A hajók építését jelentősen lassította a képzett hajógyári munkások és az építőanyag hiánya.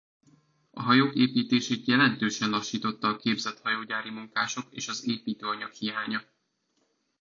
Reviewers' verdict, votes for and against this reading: accepted, 2, 1